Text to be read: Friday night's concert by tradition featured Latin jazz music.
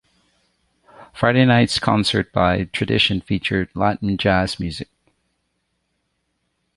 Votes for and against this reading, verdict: 2, 0, accepted